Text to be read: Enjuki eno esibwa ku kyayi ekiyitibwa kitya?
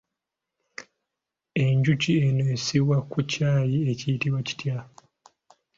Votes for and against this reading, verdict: 2, 0, accepted